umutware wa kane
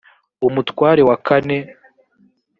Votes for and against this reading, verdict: 3, 0, accepted